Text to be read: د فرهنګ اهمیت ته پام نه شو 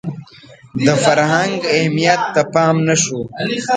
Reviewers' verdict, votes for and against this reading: rejected, 1, 2